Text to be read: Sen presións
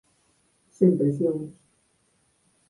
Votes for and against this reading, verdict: 4, 2, accepted